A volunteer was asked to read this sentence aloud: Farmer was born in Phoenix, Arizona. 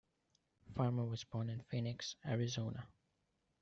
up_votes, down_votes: 0, 2